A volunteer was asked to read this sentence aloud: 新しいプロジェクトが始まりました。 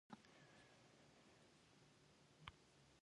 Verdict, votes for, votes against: rejected, 0, 3